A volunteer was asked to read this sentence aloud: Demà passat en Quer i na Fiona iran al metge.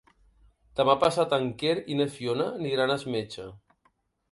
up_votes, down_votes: 0, 3